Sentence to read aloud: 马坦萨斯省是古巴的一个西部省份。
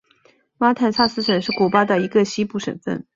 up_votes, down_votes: 6, 0